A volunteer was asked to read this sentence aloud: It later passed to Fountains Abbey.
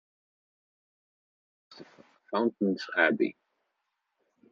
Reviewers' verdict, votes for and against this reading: rejected, 1, 2